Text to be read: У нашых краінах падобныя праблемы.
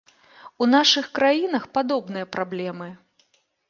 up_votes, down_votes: 2, 0